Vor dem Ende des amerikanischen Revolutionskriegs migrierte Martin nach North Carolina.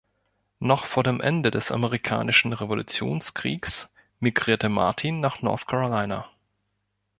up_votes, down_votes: 0, 2